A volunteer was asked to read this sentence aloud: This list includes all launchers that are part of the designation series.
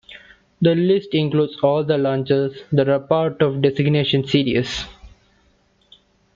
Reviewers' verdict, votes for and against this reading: rejected, 0, 2